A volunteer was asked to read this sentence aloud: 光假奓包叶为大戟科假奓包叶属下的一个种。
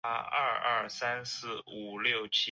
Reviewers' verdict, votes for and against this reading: rejected, 0, 2